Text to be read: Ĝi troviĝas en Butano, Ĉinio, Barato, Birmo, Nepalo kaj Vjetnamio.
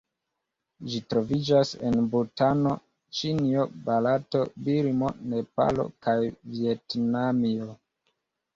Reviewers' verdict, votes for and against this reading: rejected, 1, 2